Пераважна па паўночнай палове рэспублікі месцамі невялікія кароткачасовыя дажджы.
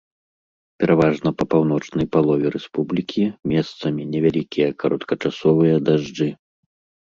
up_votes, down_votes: 2, 0